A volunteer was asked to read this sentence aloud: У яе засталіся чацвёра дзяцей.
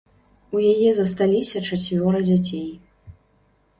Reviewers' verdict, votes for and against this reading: accepted, 2, 0